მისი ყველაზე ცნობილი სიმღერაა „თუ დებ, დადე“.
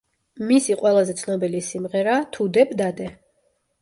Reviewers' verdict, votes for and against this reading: accepted, 2, 0